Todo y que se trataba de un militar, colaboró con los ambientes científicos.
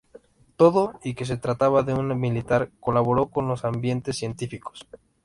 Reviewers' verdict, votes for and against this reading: accepted, 2, 0